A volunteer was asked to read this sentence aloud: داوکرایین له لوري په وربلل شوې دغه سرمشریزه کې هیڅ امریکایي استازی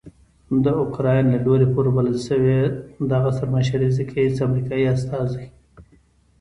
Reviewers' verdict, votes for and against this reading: rejected, 1, 2